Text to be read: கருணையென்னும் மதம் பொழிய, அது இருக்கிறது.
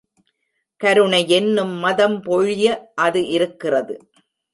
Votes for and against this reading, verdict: 0, 2, rejected